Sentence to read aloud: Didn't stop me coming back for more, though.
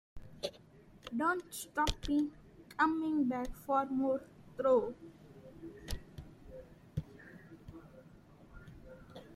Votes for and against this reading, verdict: 0, 2, rejected